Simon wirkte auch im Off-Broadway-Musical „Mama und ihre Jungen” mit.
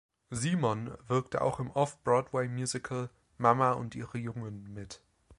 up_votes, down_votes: 2, 0